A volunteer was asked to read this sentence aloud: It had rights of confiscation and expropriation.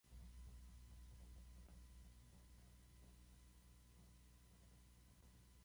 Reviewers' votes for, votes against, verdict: 0, 2, rejected